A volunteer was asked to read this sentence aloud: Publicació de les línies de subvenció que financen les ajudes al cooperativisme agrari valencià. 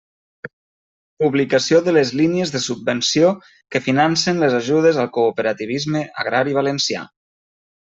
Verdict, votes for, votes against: accepted, 3, 0